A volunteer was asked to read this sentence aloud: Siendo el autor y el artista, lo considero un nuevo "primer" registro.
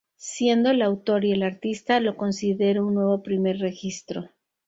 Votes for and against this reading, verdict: 4, 0, accepted